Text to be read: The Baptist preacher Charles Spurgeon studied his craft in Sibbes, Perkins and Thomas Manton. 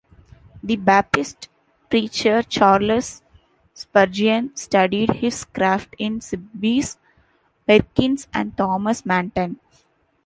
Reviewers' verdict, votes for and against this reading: rejected, 1, 2